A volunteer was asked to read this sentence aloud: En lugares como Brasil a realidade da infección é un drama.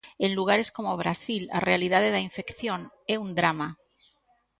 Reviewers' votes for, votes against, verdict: 2, 0, accepted